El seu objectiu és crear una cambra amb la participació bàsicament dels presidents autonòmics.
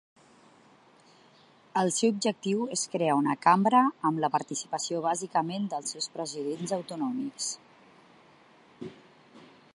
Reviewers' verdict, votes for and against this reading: rejected, 1, 2